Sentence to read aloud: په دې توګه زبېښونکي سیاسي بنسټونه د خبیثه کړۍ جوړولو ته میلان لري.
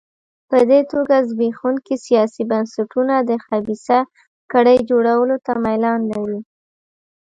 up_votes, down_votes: 0, 2